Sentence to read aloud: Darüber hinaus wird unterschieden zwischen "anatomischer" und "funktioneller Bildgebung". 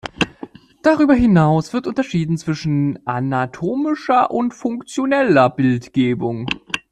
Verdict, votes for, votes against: accepted, 2, 1